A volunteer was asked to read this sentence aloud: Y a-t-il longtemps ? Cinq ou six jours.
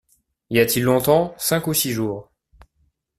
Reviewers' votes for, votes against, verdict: 2, 0, accepted